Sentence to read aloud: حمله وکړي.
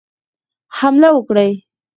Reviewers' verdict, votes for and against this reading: accepted, 4, 0